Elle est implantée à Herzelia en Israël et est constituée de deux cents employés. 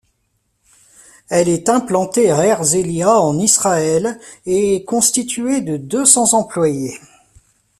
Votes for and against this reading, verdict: 1, 2, rejected